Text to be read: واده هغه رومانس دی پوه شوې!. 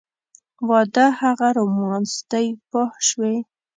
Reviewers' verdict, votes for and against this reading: accepted, 2, 0